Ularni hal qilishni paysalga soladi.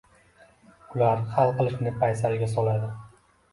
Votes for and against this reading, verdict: 2, 0, accepted